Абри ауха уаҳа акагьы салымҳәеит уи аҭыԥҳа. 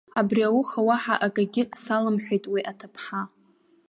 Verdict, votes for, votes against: accepted, 2, 0